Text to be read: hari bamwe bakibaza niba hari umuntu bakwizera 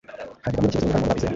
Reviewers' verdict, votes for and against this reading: rejected, 1, 2